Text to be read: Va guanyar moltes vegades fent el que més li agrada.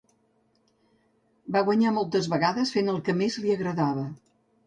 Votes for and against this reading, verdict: 0, 2, rejected